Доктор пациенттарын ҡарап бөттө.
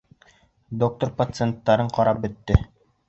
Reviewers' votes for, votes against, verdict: 2, 0, accepted